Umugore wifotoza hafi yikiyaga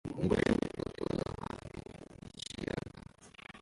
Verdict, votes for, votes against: rejected, 0, 2